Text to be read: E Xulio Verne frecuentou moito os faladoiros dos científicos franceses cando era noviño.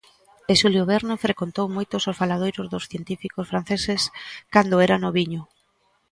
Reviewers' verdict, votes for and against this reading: rejected, 0, 2